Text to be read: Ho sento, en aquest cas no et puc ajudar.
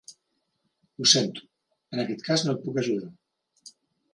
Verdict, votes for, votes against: accepted, 3, 0